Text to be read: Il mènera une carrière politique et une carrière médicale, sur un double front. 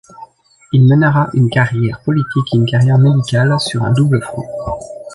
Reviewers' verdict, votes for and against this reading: rejected, 1, 2